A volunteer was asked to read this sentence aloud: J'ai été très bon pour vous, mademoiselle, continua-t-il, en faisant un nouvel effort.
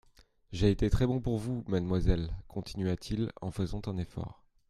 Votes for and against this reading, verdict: 0, 2, rejected